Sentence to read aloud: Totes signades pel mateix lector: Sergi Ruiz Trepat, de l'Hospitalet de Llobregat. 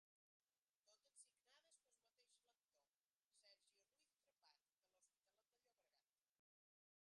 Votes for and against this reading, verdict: 0, 2, rejected